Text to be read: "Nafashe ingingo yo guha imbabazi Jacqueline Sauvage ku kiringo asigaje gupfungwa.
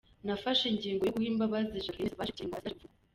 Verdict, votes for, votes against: rejected, 0, 2